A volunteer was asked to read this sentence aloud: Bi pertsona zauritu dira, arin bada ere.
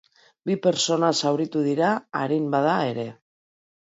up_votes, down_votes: 2, 0